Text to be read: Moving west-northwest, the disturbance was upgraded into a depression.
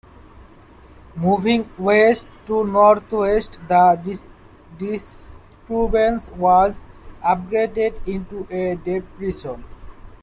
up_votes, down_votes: 0, 2